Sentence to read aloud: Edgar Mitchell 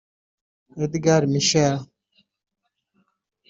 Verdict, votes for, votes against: rejected, 0, 2